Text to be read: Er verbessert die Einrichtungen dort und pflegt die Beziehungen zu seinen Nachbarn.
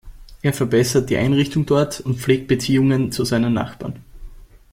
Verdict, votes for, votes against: rejected, 0, 2